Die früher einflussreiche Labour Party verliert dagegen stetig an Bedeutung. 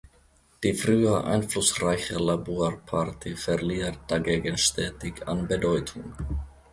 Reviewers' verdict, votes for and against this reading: rejected, 1, 2